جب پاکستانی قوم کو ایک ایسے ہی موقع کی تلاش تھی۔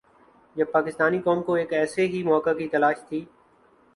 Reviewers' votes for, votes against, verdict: 13, 0, accepted